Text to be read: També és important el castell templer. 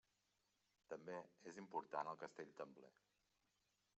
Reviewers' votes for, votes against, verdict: 0, 2, rejected